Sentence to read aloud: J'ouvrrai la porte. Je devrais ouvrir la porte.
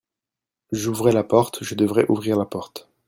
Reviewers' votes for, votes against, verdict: 1, 2, rejected